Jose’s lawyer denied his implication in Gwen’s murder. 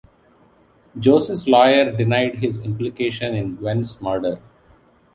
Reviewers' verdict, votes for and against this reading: accepted, 2, 1